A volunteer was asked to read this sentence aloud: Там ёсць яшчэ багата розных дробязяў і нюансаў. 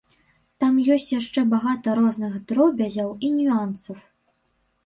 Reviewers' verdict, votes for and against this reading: rejected, 1, 3